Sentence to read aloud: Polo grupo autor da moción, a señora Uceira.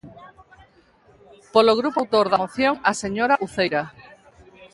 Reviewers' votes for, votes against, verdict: 0, 2, rejected